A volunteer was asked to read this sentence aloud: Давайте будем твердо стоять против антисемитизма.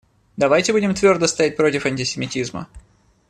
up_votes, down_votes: 2, 0